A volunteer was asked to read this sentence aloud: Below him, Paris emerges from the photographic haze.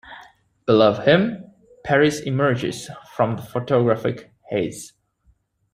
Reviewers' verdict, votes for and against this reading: accepted, 2, 0